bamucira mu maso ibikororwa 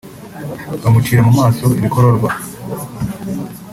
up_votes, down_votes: 2, 1